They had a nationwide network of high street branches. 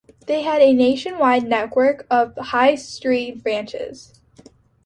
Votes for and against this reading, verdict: 2, 0, accepted